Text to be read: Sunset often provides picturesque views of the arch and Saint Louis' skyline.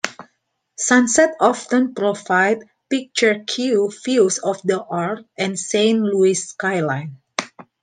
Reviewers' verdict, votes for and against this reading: rejected, 1, 2